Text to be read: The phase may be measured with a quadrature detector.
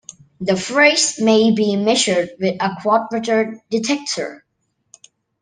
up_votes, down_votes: 1, 2